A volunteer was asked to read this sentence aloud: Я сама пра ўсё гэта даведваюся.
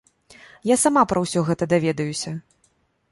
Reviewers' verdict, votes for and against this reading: rejected, 1, 3